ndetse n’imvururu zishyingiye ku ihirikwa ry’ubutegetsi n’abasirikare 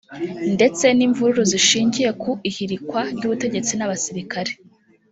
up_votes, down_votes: 3, 0